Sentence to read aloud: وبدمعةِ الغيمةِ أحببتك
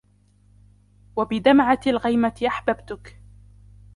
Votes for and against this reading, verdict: 0, 2, rejected